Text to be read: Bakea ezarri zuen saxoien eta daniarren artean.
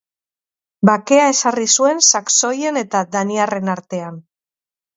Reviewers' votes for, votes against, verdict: 0, 2, rejected